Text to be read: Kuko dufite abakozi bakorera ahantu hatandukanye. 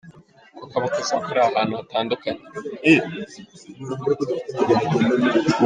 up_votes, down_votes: 0, 2